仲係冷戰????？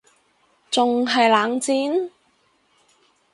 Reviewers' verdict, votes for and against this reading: accepted, 4, 0